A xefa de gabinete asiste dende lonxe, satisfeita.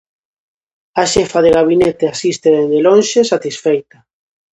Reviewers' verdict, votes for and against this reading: accepted, 2, 0